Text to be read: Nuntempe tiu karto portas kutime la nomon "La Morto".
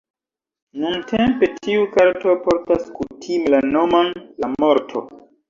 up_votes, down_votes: 1, 2